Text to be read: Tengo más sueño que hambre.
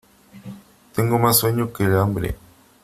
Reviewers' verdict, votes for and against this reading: accepted, 3, 0